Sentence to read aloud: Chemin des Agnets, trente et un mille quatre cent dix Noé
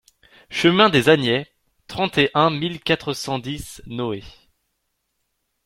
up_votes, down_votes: 2, 0